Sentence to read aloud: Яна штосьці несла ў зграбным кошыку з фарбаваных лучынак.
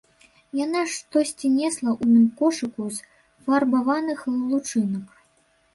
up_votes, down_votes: 1, 2